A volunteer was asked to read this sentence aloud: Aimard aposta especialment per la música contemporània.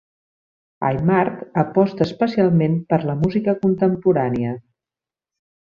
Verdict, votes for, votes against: rejected, 0, 2